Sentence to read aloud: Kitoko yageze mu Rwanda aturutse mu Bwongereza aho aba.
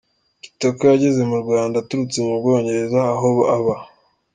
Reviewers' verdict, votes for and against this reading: accepted, 2, 0